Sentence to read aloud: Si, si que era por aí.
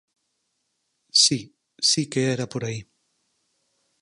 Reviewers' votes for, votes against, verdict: 4, 2, accepted